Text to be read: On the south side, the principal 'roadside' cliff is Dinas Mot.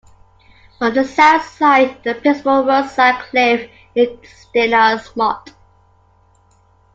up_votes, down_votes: 0, 2